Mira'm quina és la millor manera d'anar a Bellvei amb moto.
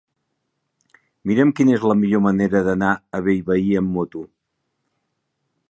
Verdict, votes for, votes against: accepted, 2, 0